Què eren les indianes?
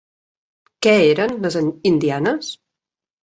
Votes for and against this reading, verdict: 0, 3, rejected